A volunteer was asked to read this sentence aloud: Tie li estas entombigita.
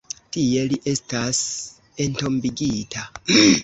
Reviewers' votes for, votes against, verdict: 2, 0, accepted